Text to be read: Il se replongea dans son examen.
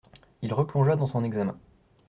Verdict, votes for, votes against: rejected, 0, 2